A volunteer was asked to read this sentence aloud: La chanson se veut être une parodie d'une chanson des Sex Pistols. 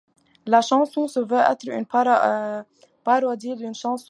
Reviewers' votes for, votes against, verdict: 0, 2, rejected